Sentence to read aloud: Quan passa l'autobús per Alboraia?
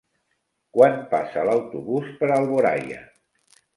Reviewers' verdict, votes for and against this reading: rejected, 0, 2